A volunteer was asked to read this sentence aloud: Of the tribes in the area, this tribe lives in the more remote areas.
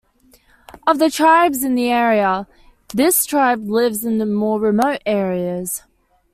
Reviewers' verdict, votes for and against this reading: accepted, 2, 0